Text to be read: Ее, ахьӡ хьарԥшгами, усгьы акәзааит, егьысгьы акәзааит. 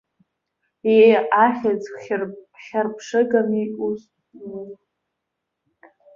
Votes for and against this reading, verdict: 0, 2, rejected